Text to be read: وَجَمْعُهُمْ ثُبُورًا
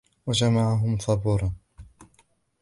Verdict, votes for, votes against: rejected, 0, 2